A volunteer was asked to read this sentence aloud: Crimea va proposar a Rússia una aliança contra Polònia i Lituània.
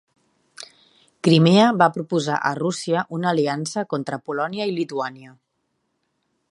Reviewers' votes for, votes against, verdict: 2, 0, accepted